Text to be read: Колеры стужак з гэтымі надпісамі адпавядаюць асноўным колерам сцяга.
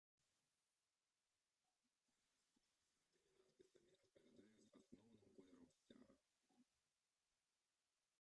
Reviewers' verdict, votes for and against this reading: rejected, 0, 2